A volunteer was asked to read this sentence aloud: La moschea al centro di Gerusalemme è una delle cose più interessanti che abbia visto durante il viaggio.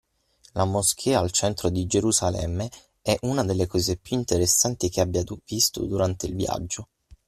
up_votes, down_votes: 0, 6